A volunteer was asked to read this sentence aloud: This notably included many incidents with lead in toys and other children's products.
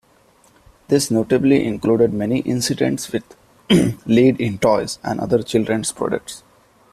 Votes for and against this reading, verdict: 1, 2, rejected